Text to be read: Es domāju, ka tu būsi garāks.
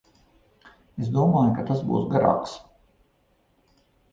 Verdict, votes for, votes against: rejected, 0, 2